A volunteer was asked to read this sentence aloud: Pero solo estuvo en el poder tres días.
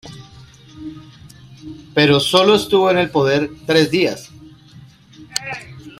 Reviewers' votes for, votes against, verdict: 2, 1, accepted